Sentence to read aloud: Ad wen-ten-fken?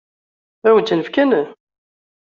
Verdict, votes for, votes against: accepted, 2, 0